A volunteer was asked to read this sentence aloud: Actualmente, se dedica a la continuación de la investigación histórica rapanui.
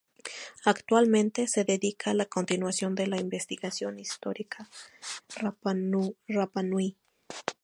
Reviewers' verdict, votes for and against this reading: rejected, 0, 2